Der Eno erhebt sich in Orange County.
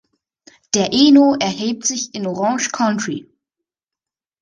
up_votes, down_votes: 1, 3